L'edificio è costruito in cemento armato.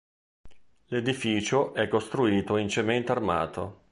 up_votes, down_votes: 2, 0